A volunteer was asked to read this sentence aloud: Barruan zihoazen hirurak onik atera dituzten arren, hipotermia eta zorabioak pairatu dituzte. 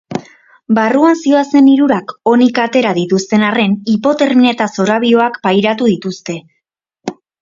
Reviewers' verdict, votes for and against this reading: accepted, 2, 0